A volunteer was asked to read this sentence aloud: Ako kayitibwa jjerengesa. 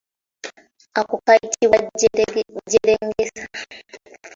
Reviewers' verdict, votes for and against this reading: rejected, 0, 2